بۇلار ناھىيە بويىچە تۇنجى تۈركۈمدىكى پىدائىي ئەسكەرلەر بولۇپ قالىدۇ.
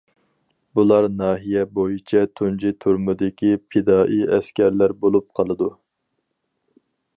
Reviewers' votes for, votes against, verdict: 0, 4, rejected